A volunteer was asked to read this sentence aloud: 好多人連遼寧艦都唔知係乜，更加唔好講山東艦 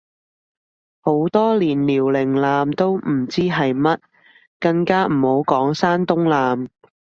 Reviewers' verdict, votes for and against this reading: rejected, 1, 2